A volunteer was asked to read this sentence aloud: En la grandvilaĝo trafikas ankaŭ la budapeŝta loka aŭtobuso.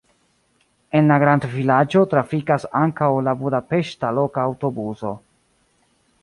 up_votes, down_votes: 2, 0